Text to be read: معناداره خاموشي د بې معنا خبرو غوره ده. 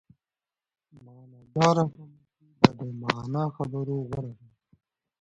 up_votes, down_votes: 2, 1